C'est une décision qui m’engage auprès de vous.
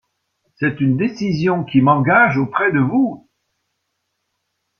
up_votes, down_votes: 2, 0